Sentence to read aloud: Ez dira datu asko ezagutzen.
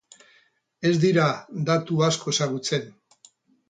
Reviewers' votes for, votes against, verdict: 2, 2, rejected